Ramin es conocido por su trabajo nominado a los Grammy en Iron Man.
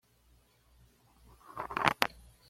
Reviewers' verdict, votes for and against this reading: rejected, 1, 2